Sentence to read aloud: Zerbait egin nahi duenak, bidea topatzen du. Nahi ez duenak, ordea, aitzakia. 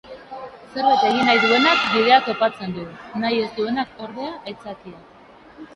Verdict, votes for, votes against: rejected, 1, 2